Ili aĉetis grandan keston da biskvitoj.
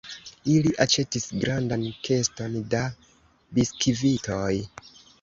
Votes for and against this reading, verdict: 2, 0, accepted